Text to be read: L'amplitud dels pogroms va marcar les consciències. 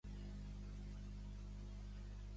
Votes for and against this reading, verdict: 0, 2, rejected